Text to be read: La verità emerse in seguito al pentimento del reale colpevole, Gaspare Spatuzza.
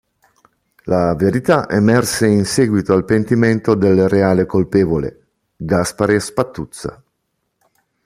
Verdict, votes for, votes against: accepted, 2, 0